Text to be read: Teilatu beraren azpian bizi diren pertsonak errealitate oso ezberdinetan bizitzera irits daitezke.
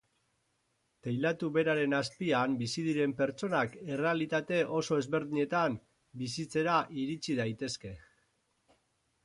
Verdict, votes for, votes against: accepted, 4, 2